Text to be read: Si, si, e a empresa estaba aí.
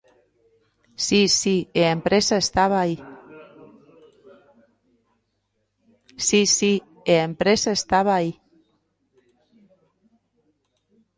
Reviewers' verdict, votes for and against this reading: rejected, 0, 2